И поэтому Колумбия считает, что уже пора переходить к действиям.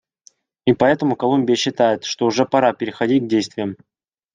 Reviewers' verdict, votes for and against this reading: accepted, 2, 0